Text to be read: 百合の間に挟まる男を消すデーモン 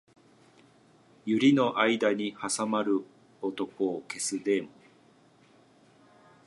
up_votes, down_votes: 0, 2